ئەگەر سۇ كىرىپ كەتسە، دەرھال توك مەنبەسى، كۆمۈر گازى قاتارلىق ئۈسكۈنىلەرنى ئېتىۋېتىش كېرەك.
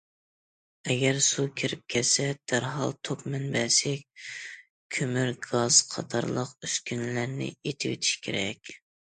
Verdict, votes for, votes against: accepted, 2, 0